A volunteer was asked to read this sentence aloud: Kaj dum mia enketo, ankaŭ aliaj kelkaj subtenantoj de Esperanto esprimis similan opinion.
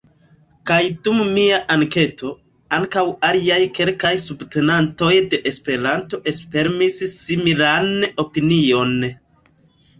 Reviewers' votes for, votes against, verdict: 0, 2, rejected